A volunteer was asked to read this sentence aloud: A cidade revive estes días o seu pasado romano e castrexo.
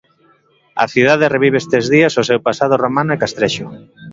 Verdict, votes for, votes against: accepted, 2, 0